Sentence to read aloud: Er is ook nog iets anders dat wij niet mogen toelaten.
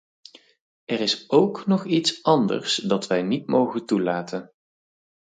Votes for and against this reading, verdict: 4, 0, accepted